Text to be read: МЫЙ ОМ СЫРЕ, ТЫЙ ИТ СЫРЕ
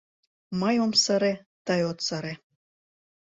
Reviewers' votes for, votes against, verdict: 0, 2, rejected